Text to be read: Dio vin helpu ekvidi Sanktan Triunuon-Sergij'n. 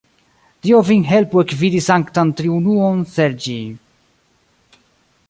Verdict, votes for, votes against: rejected, 1, 2